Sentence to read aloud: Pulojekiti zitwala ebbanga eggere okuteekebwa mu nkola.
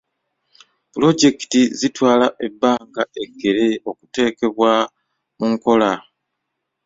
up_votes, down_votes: 2, 0